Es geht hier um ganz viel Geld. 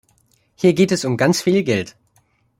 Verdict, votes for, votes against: rejected, 0, 2